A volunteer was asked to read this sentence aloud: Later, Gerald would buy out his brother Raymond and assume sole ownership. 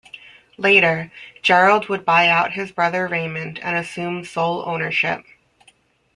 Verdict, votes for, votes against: accepted, 2, 0